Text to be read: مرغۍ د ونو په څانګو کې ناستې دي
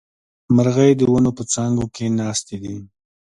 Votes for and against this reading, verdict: 2, 0, accepted